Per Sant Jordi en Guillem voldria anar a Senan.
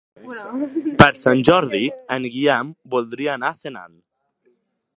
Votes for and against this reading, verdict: 2, 0, accepted